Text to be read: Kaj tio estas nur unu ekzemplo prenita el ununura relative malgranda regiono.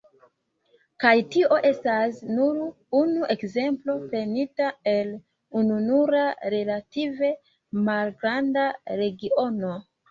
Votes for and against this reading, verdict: 1, 2, rejected